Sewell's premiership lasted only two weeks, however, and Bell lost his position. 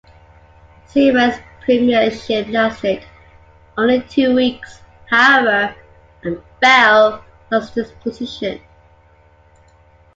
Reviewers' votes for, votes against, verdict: 2, 0, accepted